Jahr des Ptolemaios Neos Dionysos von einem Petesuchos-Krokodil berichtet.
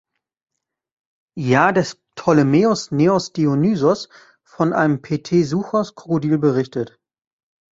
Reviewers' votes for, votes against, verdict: 2, 0, accepted